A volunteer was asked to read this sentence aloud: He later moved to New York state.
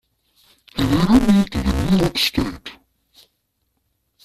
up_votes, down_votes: 0, 2